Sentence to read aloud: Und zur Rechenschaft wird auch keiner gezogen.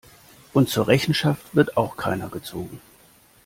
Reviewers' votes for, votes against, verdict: 2, 0, accepted